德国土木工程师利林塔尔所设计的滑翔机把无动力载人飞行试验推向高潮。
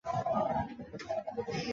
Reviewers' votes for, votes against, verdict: 0, 2, rejected